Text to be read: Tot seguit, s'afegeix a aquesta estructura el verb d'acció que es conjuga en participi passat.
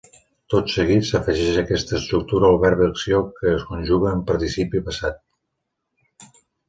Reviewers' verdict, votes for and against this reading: accepted, 2, 0